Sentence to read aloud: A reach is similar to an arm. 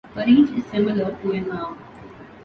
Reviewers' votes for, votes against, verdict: 1, 2, rejected